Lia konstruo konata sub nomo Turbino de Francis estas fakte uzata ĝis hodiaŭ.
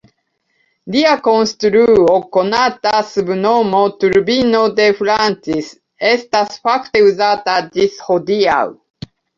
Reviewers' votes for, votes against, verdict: 2, 1, accepted